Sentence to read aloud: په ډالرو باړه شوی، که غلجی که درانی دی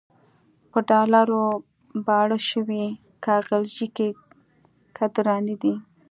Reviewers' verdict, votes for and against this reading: rejected, 1, 2